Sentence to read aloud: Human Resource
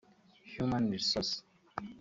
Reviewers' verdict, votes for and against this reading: rejected, 1, 2